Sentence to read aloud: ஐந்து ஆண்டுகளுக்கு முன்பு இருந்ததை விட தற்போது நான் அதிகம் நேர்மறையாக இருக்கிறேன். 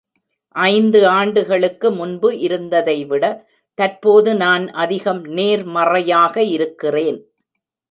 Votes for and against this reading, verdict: 3, 0, accepted